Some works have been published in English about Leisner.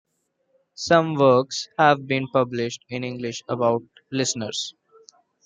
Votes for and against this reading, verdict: 1, 2, rejected